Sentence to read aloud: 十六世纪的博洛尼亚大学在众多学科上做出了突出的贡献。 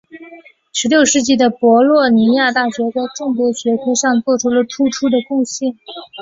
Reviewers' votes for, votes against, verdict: 2, 0, accepted